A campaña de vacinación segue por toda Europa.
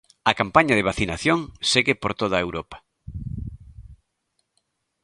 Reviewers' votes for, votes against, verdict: 3, 0, accepted